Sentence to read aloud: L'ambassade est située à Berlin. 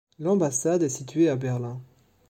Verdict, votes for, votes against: accepted, 2, 0